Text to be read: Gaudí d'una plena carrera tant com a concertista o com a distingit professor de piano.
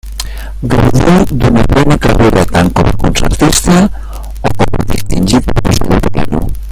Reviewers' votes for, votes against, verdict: 0, 2, rejected